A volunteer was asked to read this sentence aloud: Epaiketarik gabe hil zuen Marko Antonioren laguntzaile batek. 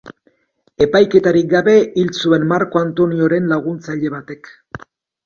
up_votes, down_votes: 3, 0